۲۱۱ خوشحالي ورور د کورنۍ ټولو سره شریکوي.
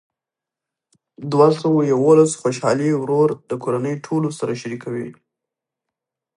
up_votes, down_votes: 0, 2